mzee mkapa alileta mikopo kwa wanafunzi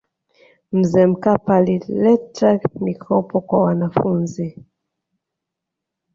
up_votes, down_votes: 1, 2